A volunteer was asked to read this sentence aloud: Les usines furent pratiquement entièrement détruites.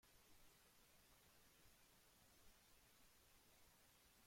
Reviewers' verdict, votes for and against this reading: rejected, 0, 3